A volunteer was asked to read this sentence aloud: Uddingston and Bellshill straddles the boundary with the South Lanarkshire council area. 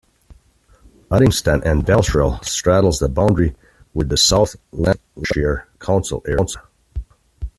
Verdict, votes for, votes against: rejected, 1, 2